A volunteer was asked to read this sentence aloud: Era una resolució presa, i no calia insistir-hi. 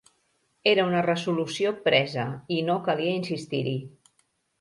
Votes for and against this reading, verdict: 0, 2, rejected